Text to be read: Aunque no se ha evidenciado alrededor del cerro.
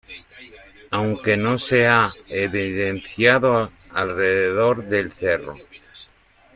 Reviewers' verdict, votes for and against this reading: accepted, 2, 0